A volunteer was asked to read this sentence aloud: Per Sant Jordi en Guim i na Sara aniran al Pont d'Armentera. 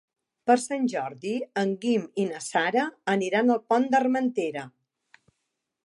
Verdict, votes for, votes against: accepted, 3, 0